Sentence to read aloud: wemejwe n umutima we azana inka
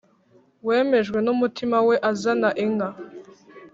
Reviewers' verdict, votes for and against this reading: accepted, 3, 0